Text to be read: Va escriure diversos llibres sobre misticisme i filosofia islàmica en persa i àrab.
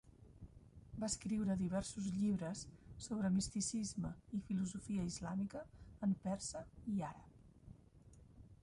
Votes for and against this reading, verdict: 3, 1, accepted